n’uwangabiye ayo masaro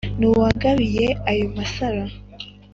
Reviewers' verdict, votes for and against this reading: accepted, 2, 0